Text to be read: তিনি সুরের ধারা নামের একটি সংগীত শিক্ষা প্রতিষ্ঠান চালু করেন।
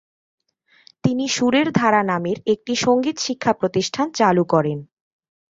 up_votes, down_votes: 2, 0